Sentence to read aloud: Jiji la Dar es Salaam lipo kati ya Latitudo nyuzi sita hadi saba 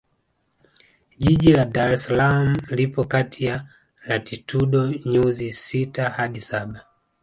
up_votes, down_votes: 1, 2